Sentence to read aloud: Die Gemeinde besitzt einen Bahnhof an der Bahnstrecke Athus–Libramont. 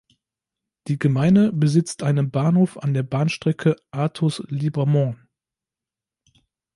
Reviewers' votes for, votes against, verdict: 1, 2, rejected